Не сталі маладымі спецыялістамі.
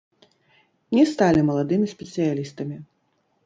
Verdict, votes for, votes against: rejected, 0, 2